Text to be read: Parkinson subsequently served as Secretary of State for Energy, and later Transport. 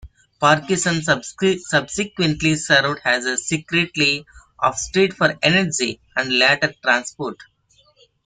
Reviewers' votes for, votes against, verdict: 0, 2, rejected